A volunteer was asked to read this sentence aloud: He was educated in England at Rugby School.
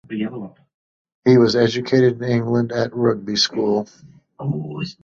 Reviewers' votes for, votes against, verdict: 0, 2, rejected